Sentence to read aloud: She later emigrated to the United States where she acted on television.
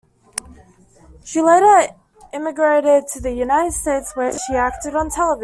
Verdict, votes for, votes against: rejected, 1, 2